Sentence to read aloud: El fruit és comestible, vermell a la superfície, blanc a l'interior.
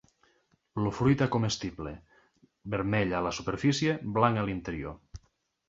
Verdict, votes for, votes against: rejected, 1, 2